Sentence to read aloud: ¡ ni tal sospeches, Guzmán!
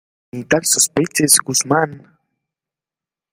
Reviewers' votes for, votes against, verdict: 2, 1, accepted